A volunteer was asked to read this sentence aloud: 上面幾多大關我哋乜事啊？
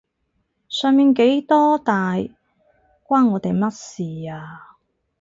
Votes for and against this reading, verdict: 4, 2, accepted